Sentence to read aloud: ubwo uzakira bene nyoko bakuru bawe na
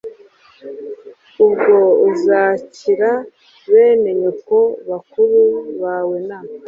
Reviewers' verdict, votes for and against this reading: accepted, 2, 0